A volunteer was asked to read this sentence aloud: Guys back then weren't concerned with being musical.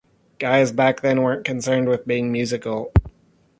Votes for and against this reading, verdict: 2, 0, accepted